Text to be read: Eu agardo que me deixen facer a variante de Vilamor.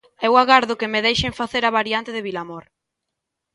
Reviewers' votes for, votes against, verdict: 2, 0, accepted